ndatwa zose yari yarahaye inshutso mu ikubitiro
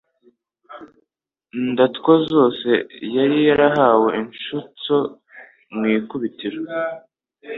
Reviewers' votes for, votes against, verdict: 1, 2, rejected